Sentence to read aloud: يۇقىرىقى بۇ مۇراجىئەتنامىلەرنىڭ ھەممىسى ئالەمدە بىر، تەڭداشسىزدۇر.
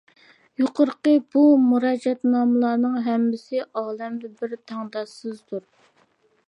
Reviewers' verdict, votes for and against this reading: accepted, 2, 0